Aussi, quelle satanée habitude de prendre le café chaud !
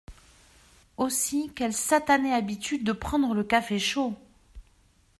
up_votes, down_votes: 2, 0